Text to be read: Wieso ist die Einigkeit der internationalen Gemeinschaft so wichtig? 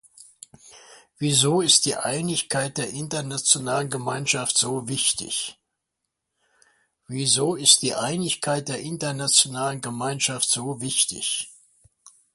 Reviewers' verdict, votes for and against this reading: rejected, 0, 2